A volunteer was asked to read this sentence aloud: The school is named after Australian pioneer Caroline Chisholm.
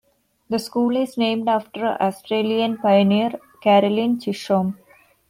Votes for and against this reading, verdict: 2, 0, accepted